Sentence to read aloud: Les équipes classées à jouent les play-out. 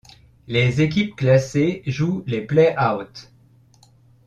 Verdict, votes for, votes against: rejected, 0, 2